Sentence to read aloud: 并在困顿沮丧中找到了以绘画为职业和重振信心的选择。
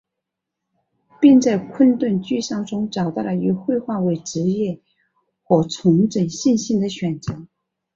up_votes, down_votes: 3, 2